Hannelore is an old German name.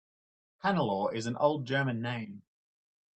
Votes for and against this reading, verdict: 2, 0, accepted